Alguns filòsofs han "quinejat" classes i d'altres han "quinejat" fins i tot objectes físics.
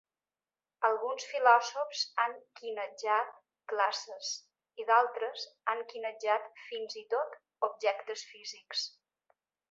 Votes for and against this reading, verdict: 2, 0, accepted